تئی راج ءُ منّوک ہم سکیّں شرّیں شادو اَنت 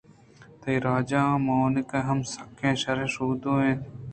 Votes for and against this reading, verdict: 0, 2, rejected